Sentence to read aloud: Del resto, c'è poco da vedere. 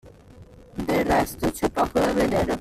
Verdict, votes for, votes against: rejected, 1, 2